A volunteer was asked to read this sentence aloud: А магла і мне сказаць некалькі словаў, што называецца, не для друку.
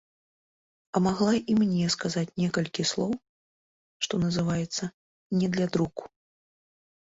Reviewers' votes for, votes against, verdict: 1, 2, rejected